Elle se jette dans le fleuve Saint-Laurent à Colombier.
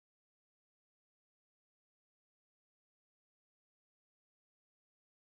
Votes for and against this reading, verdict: 0, 2, rejected